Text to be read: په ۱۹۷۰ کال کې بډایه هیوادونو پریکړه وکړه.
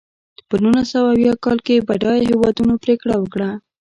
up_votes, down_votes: 0, 2